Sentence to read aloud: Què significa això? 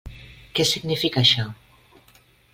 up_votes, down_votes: 3, 0